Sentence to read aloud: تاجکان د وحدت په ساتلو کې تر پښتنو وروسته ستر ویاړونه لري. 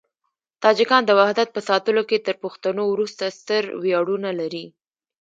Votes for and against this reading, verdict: 0, 2, rejected